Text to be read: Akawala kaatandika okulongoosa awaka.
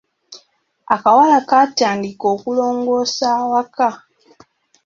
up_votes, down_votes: 2, 0